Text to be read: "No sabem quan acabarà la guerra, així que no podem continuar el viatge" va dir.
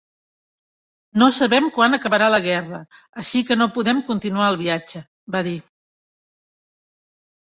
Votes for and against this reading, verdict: 3, 0, accepted